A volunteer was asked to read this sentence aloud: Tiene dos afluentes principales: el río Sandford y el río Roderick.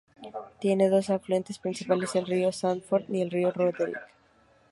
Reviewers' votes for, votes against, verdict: 2, 0, accepted